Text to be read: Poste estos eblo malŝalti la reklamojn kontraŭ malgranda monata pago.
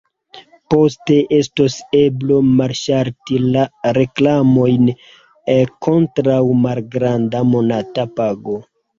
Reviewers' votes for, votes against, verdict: 2, 1, accepted